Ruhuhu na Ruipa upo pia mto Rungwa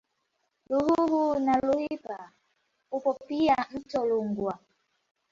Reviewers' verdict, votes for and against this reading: rejected, 0, 2